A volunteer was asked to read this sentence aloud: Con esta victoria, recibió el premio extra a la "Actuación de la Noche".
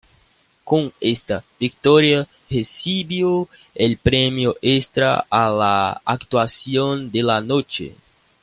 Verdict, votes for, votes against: accepted, 2, 1